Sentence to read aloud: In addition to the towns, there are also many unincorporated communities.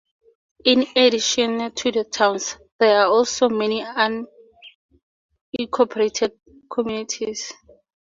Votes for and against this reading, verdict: 0, 2, rejected